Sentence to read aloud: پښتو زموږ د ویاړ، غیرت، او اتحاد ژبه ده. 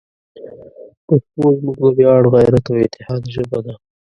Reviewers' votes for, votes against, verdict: 0, 2, rejected